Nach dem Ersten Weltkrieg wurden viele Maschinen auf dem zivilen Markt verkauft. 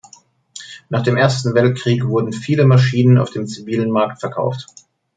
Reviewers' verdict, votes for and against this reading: accepted, 2, 0